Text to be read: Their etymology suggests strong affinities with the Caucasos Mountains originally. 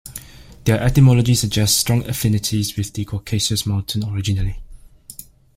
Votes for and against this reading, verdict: 1, 2, rejected